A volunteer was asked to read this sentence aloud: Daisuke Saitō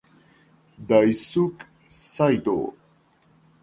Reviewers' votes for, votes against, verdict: 2, 0, accepted